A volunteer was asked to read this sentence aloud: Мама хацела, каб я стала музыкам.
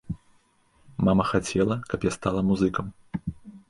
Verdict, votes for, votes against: accepted, 2, 0